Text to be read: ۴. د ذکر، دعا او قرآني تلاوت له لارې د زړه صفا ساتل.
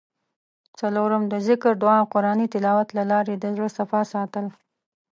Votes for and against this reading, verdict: 0, 2, rejected